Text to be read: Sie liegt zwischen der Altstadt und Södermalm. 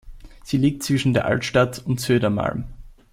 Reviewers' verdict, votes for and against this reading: accepted, 2, 0